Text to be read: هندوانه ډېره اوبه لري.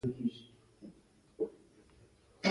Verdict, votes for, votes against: rejected, 0, 2